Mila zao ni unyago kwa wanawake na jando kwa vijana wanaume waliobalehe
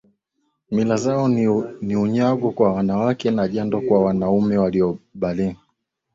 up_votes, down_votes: 2, 1